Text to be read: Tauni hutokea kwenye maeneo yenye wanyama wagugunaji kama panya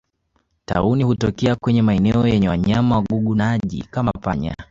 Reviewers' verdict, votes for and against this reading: accepted, 2, 0